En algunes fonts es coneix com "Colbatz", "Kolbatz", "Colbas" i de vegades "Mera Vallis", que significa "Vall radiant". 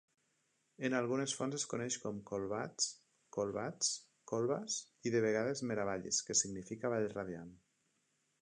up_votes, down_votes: 2, 1